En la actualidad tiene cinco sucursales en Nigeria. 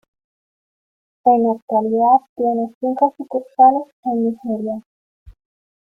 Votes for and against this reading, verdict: 2, 0, accepted